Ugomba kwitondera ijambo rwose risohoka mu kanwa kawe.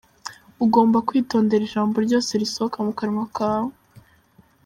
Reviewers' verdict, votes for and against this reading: accepted, 3, 1